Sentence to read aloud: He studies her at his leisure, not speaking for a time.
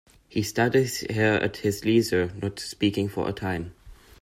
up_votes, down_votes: 0, 2